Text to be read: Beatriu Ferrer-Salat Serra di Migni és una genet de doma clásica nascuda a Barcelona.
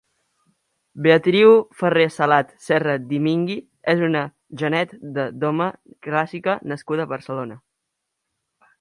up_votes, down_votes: 2, 1